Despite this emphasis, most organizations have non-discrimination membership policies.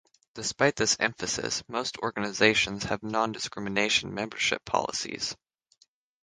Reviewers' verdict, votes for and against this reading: accepted, 6, 0